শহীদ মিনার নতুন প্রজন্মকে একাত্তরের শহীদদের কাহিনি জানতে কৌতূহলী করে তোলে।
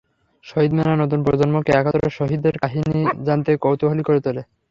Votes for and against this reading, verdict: 0, 3, rejected